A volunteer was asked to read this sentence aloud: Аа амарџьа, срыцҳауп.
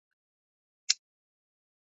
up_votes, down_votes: 1, 2